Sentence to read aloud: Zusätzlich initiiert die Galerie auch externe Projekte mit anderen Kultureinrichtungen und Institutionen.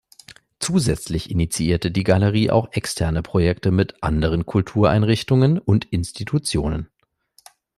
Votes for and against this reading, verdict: 0, 2, rejected